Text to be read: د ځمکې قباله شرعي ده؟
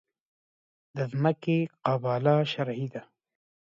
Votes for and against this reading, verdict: 2, 1, accepted